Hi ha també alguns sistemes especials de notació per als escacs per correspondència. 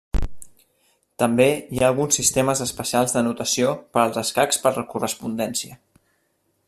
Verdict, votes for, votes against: rejected, 0, 2